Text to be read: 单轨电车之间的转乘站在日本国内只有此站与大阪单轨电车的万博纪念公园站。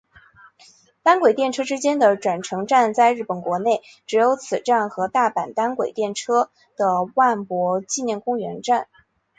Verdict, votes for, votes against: accepted, 3, 1